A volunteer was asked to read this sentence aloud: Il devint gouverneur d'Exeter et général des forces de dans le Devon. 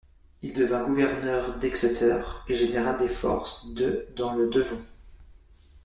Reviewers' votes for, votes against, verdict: 2, 0, accepted